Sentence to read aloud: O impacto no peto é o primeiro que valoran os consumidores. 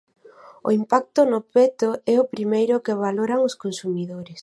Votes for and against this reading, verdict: 4, 0, accepted